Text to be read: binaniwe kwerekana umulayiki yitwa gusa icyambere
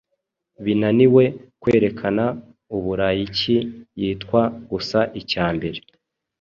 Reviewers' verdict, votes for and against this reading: rejected, 0, 2